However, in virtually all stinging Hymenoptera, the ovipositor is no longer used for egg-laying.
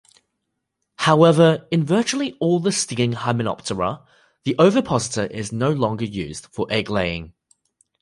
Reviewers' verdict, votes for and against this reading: rejected, 0, 2